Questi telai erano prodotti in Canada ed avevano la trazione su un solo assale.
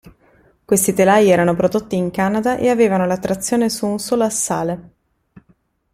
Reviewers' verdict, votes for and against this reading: accepted, 2, 1